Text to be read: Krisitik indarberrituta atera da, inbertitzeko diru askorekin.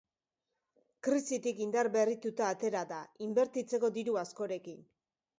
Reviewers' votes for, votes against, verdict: 3, 0, accepted